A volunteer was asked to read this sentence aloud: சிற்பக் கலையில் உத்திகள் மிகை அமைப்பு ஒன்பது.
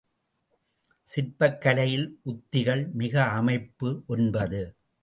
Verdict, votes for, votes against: accepted, 2, 0